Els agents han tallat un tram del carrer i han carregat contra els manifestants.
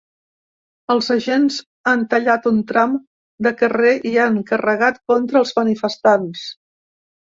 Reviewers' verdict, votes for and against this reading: rejected, 1, 2